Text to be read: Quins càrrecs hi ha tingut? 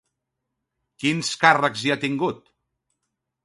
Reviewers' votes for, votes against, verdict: 2, 0, accepted